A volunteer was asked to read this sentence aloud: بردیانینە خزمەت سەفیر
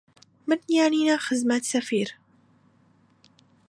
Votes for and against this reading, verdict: 2, 0, accepted